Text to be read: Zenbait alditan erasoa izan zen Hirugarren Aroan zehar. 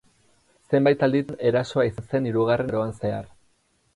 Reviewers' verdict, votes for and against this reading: rejected, 2, 8